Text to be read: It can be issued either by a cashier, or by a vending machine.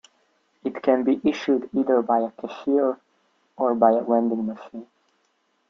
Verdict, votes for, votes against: rejected, 1, 2